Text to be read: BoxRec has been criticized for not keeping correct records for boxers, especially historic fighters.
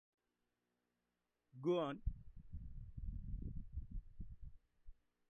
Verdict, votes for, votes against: rejected, 0, 2